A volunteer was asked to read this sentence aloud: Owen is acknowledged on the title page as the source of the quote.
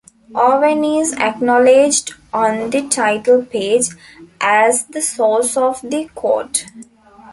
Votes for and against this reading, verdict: 2, 1, accepted